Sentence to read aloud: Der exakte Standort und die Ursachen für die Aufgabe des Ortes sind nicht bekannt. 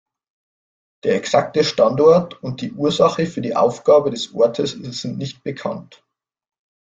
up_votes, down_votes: 1, 2